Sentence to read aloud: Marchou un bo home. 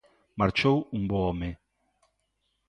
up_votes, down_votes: 2, 0